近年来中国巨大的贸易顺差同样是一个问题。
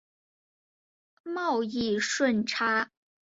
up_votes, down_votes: 1, 3